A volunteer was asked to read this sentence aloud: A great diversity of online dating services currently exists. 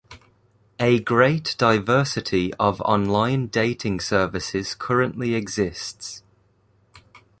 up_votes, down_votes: 2, 0